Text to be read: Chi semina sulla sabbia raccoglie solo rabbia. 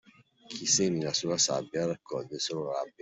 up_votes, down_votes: 1, 2